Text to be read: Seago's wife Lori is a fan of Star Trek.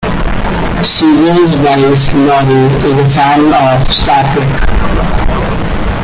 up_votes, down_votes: 1, 2